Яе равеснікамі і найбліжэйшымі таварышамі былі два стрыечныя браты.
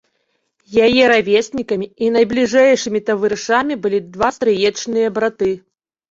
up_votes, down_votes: 1, 2